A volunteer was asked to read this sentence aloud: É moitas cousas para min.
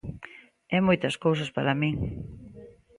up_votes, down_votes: 2, 0